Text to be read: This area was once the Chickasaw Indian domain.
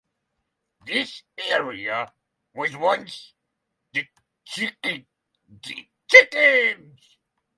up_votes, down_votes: 0, 3